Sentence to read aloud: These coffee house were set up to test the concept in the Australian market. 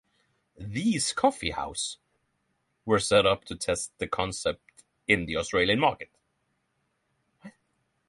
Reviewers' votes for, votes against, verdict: 6, 0, accepted